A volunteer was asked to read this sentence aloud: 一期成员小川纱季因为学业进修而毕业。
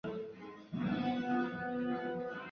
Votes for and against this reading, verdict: 2, 4, rejected